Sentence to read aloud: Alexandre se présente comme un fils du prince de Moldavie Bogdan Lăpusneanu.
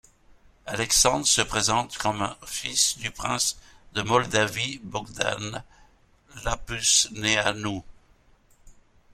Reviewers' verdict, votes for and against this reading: accepted, 2, 1